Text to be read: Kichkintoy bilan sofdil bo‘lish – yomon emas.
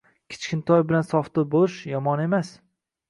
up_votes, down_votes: 2, 0